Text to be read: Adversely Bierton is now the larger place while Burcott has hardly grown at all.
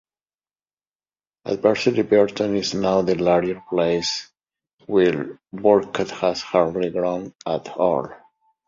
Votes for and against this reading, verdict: 1, 2, rejected